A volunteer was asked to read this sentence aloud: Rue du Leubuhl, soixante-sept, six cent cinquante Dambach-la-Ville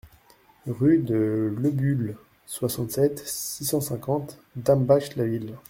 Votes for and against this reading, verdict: 1, 2, rejected